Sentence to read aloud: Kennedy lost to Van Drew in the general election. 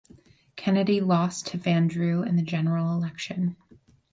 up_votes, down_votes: 4, 0